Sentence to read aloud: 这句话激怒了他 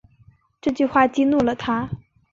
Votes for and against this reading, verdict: 7, 0, accepted